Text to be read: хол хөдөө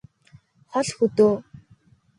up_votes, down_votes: 2, 0